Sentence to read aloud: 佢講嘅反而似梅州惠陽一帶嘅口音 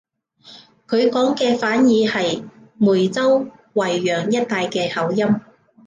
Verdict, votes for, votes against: rejected, 1, 2